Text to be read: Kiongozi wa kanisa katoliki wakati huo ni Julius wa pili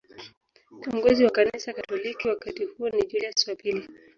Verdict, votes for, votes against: rejected, 1, 3